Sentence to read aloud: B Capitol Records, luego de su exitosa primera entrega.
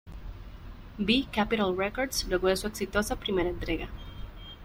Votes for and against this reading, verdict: 1, 2, rejected